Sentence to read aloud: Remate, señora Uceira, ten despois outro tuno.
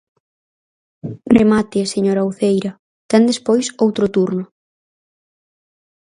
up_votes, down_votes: 0, 4